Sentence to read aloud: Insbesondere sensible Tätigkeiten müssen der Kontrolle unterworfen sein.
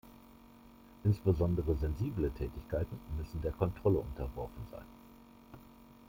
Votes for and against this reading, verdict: 2, 0, accepted